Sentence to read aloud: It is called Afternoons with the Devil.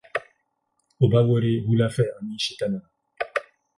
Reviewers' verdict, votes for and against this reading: rejected, 0, 8